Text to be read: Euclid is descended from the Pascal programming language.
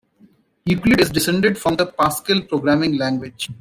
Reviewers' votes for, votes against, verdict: 1, 2, rejected